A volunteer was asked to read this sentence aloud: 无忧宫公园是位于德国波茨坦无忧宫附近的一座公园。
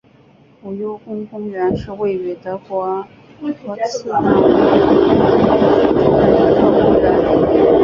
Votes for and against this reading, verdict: 0, 3, rejected